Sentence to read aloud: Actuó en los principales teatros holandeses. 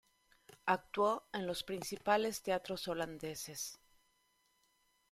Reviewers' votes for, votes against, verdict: 2, 1, accepted